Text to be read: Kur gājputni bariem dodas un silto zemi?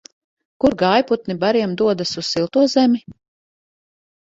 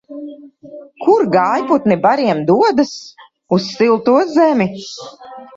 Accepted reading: first